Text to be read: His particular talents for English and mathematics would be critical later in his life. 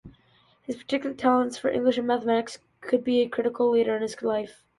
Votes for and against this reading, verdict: 0, 2, rejected